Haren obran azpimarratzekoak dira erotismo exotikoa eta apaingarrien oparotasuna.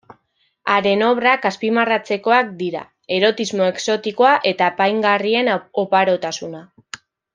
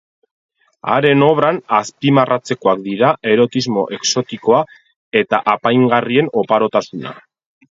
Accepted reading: second